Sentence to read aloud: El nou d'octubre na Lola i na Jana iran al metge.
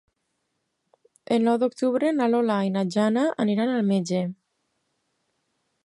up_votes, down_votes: 0, 4